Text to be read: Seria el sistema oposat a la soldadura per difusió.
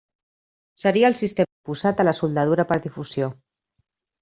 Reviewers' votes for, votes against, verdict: 0, 2, rejected